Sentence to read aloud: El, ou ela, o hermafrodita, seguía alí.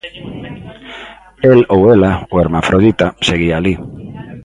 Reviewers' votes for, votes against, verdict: 0, 2, rejected